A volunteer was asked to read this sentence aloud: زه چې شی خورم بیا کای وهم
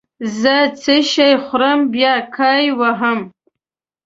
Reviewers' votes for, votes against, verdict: 1, 2, rejected